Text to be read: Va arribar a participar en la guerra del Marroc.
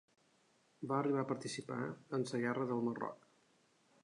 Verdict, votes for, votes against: accepted, 3, 0